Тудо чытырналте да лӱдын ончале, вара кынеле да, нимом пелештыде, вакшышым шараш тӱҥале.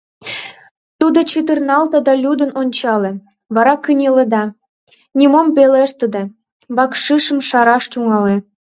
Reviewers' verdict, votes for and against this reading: rejected, 1, 2